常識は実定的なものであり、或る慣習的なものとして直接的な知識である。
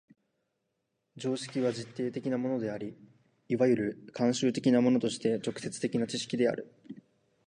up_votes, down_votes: 3, 1